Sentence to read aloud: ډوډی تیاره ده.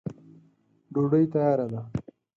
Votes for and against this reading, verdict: 4, 0, accepted